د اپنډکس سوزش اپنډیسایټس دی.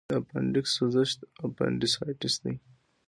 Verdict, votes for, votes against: accepted, 2, 0